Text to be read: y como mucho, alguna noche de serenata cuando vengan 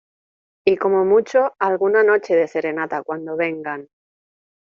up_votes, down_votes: 2, 0